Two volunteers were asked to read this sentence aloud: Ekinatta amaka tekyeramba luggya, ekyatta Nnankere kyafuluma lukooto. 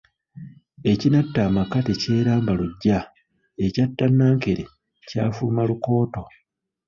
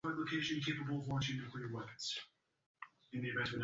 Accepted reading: first